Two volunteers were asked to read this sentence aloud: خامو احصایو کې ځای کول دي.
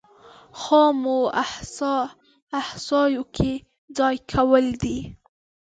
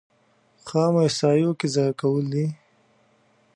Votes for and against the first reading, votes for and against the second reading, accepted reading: 0, 2, 2, 0, second